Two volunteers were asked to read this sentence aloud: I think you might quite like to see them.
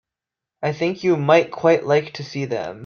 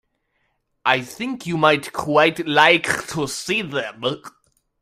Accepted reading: first